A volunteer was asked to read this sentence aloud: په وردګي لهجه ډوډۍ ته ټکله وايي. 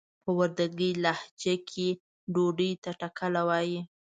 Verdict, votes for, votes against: rejected, 0, 2